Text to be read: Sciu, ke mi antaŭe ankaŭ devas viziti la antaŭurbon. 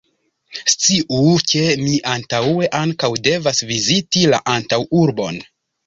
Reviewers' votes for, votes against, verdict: 1, 2, rejected